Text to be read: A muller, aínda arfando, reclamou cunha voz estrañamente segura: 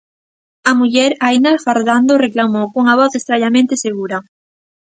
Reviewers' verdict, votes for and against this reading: rejected, 0, 2